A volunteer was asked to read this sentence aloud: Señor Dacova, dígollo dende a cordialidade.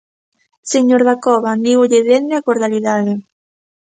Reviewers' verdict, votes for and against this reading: rejected, 1, 2